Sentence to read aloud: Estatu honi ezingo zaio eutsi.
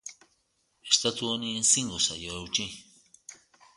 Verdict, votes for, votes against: accepted, 2, 0